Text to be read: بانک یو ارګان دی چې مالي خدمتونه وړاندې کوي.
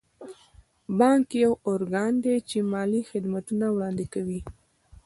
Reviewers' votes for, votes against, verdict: 1, 2, rejected